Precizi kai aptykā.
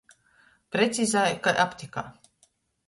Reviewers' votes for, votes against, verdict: 0, 2, rejected